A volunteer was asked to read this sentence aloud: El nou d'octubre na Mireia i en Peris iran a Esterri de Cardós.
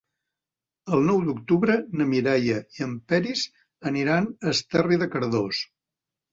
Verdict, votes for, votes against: rejected, 1, 2